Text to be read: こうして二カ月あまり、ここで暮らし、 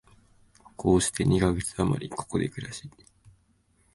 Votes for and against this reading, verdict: 2, 3, rejected